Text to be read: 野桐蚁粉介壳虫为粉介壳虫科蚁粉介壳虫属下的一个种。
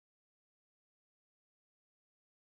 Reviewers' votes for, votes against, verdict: 1, 3, rejected